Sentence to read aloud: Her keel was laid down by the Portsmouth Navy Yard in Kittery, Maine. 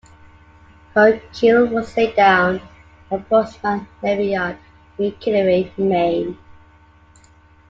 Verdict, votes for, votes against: rejected, 0, 2